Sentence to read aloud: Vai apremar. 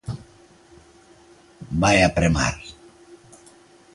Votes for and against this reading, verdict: 2, 0, accepted